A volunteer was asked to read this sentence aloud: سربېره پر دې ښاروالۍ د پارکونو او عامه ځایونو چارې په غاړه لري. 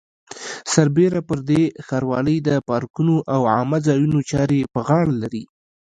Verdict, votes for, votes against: rejected, 1, 2